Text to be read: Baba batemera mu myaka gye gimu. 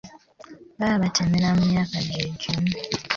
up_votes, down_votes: 2, 0